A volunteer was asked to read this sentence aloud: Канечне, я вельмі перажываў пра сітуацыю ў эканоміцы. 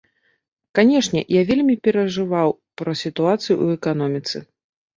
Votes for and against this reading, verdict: 2, 0, accepted